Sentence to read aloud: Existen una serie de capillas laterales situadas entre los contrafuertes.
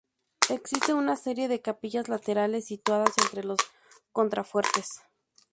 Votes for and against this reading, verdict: 2, 2, rejected